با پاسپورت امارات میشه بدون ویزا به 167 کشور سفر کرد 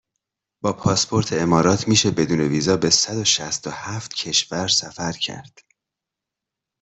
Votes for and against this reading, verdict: 0, 2, rejected